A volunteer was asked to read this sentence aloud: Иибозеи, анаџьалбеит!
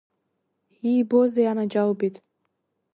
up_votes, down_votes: 2, 0